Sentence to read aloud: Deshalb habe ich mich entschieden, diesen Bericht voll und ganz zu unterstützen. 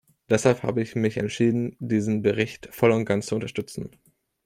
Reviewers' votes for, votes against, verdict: 2, 0, accepted